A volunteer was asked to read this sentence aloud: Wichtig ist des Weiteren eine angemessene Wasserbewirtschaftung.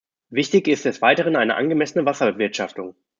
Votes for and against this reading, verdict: 1, 2, rejected